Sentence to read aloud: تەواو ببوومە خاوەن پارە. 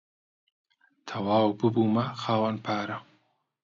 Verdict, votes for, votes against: accepted, 2, 0